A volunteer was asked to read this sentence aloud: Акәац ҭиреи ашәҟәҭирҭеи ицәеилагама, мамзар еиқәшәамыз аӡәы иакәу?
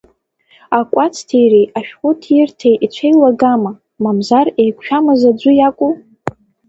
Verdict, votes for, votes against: accepted, 2, 0